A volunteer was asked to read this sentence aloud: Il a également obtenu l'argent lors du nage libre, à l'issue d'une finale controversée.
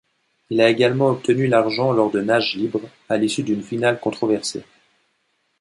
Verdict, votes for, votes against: rejected, 0, 2